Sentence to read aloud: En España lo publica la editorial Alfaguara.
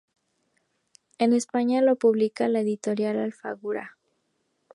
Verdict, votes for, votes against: rejected, 0, 2